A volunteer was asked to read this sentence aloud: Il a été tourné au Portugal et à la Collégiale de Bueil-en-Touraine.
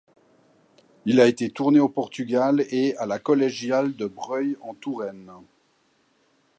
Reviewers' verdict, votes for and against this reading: rejected, 1, 2